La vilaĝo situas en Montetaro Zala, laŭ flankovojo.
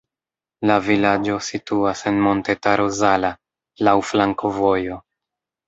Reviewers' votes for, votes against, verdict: 1, 2, rejected